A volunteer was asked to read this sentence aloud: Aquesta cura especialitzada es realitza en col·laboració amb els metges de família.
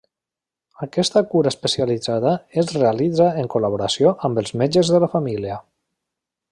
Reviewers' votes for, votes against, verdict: 0, 2, rejected